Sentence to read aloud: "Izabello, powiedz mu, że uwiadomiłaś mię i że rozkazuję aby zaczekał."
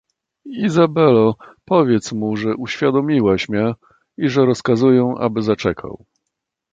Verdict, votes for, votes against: accepted, 2, 0